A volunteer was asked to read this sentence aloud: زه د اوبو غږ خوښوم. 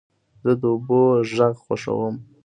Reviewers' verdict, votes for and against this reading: accepted, 2, 0